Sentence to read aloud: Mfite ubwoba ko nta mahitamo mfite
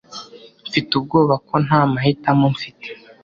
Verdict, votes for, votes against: accepted, 2, 0